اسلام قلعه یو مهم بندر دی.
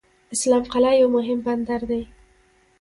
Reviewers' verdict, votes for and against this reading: accepted, 2, 1